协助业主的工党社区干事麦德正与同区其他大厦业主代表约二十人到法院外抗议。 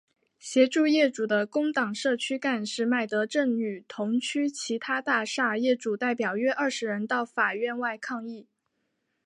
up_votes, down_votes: 2, 1